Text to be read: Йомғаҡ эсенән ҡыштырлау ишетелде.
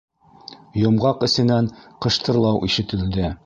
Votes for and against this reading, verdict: 2, 0, accepted